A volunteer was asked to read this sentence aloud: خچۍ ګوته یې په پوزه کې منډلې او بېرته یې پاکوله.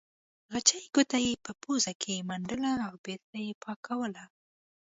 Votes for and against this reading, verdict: 2, 0, accepted